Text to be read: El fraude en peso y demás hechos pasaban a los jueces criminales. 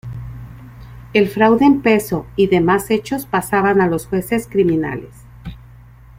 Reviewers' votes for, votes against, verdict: 2, 0, accepted